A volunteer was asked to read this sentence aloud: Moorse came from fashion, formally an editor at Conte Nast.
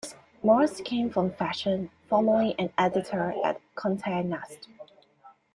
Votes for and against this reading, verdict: 2, 1, accepted